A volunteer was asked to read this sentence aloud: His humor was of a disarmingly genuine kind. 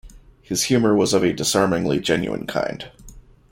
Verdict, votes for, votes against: accepted, 2, 0